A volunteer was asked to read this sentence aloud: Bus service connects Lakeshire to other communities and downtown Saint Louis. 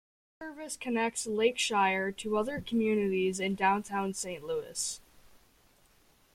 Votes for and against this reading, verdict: 1, 2, rejected